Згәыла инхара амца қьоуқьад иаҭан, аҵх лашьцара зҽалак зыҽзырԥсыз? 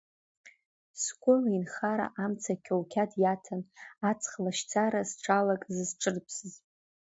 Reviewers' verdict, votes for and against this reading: rejected, 1, 2